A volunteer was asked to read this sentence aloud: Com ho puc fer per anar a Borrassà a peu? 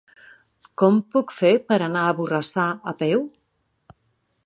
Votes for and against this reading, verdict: 3, 1, accepted